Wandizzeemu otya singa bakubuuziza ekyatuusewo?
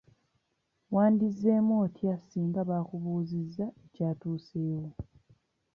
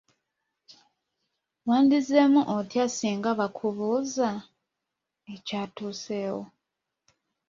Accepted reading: first